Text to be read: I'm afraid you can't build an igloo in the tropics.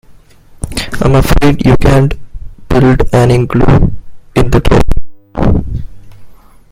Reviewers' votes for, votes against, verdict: 0, 2, rejected